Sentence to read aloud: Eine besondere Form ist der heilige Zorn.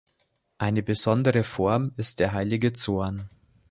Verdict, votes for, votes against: accepted, 2, 0